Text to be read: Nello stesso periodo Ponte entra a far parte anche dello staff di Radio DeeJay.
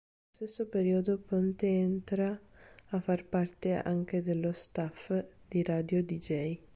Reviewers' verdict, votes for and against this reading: rejected, 1, 3